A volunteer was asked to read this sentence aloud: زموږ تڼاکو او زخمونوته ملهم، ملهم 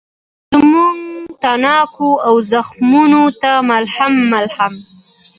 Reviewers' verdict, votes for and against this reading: accepted, 2, 0